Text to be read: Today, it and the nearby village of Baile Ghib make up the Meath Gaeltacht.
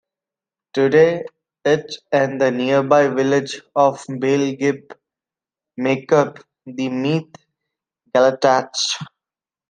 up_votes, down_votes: 2, 1